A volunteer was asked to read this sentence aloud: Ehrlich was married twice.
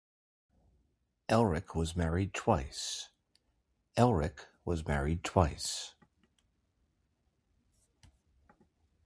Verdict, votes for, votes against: rejected, 0, 2